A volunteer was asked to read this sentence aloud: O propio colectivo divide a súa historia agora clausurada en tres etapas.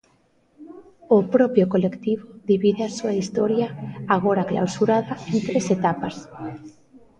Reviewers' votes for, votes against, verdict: 0, 2, rejected